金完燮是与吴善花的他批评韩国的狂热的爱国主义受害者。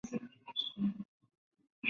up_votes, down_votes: 0, 2